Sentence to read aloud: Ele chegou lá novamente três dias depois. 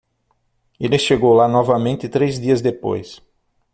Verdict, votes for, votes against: accepted, 6, 0